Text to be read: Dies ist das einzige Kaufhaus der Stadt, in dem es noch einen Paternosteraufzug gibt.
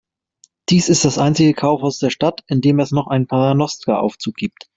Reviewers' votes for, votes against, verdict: 0, 2, rejected